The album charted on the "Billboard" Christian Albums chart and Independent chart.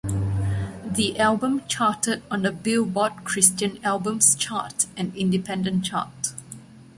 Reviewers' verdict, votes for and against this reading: accepted, 2, 0